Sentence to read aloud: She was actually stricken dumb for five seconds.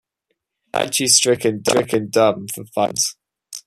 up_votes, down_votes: 0, 2